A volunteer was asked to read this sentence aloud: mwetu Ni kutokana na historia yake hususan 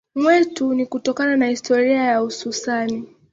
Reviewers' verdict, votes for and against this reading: rejected, 0, 2